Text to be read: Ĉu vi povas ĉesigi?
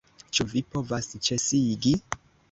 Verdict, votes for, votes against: rejected, 1, 2